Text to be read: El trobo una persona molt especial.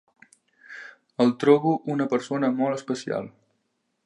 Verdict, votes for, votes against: accepted, 3, 0